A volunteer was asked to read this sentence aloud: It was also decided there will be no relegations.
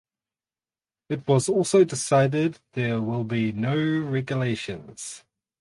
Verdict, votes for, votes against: rejected, 0, 4